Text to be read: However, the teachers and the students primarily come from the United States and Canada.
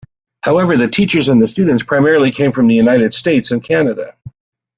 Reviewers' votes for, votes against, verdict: 2, 1, accepted